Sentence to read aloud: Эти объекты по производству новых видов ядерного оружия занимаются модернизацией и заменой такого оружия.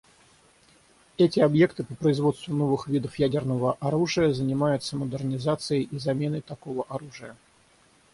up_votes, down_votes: 6, 0